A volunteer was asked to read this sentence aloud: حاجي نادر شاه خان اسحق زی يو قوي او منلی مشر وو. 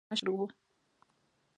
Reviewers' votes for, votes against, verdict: 2, 1, accepted